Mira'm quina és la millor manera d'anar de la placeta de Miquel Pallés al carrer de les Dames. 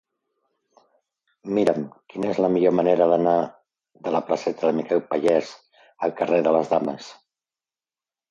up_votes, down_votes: 2, 0